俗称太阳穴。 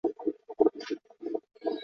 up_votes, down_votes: 0, 4